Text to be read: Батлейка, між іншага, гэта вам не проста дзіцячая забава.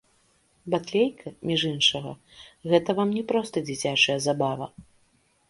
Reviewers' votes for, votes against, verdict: 3, 0, accepted